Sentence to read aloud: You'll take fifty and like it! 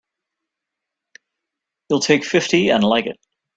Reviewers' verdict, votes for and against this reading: accepted, 2, 0